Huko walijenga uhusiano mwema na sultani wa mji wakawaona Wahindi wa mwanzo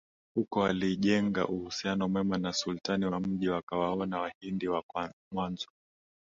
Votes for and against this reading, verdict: 1, 2, rejected